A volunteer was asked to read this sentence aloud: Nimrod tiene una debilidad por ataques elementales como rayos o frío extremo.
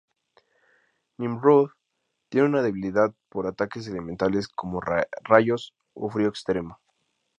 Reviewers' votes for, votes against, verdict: 2, 0, accepted